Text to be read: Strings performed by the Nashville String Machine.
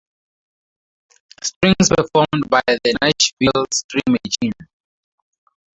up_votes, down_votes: 0, 2